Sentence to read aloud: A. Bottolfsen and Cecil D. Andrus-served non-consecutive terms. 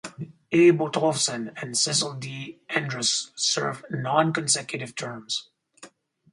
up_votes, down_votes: 4, 0